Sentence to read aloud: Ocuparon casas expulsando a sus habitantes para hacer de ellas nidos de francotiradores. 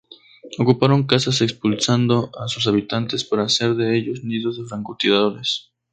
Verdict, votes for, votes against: rejected, 0, 2